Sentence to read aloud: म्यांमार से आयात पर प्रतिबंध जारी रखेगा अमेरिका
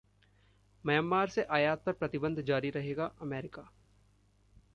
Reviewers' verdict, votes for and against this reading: accepted, 2, 1